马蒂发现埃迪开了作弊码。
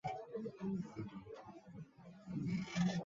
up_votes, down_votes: 1, 2